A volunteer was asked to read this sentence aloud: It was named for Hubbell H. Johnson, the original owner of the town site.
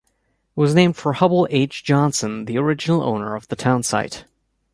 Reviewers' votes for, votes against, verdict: 2, 1, accepted